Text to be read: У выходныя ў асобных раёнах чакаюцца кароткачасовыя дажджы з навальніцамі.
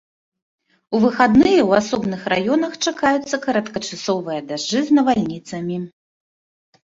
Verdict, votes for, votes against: rejected, 1, 2